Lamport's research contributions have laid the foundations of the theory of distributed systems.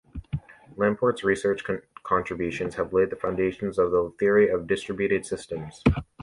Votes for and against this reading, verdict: 2, 0, accepted